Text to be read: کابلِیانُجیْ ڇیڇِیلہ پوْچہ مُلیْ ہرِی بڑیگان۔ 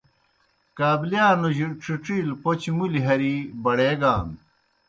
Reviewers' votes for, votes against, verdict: 2, 0, accepted